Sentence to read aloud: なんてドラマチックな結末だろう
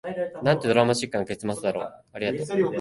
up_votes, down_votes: 1, 2